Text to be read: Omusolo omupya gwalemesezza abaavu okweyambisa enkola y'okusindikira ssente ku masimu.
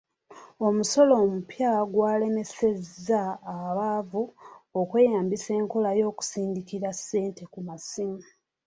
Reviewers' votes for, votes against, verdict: 2, 0, accepted